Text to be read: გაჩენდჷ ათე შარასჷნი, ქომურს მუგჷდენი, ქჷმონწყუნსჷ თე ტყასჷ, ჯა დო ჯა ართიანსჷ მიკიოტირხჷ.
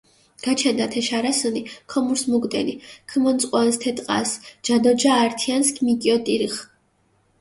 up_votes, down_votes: 2, 1